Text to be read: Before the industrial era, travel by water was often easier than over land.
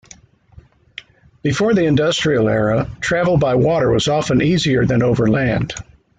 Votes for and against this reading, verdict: 2, 1, accepted